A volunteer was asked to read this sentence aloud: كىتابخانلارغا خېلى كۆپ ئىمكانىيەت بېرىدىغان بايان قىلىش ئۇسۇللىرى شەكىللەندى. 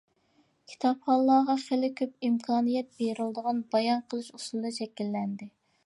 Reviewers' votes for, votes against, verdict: 0, 2, rejected